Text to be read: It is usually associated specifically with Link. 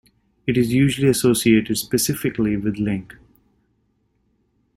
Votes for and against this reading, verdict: 2, 0, accepted